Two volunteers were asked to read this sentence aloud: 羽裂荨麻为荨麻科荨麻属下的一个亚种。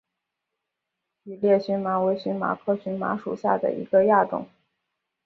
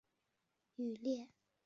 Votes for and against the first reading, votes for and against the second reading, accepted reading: 2, 0, 0, 3, first